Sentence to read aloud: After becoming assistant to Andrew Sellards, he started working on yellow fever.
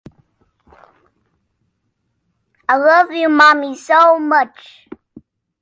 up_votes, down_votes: 0, 2